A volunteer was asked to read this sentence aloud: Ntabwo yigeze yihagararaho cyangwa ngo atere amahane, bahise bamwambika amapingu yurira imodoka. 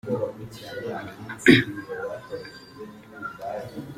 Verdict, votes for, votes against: rejected, 0, 2